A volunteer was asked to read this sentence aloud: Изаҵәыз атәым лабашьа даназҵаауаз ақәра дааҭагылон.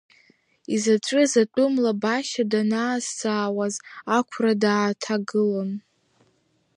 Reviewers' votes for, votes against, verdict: 1, 2, rejected